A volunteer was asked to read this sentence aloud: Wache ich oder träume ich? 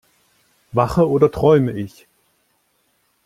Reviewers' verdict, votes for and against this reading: rejected, 0, 2